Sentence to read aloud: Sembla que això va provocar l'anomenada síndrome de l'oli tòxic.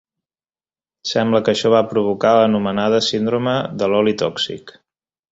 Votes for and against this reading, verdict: 9, 0, accepted